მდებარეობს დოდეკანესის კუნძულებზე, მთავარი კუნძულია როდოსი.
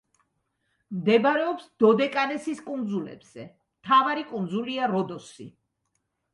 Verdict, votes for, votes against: accepted, 2, 0